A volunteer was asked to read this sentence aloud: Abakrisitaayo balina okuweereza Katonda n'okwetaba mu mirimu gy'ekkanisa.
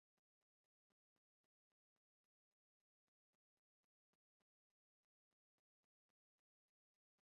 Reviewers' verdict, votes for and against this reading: rejected, 1, 2